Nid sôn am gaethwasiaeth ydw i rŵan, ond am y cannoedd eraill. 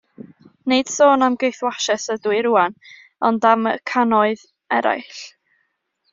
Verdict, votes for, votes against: accepted, 2, 0